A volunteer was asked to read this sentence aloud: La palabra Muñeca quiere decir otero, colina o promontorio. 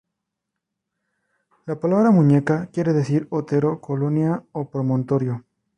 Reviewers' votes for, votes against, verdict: 0, 2, rejected